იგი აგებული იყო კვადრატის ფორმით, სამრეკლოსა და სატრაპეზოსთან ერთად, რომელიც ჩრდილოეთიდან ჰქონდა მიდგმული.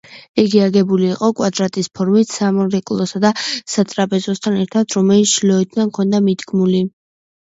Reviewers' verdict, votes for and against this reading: accepted, 2, 1